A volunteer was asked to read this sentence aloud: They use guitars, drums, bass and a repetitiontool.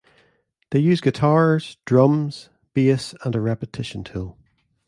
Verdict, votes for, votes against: accepted, 2, 1